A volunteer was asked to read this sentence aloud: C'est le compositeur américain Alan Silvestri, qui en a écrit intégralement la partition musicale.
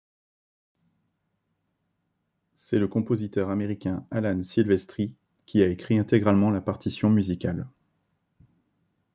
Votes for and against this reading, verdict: 1, 2, rejected